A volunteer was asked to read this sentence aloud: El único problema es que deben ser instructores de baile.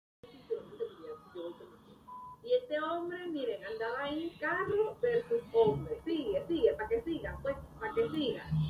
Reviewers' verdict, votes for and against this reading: rejected, 0, 2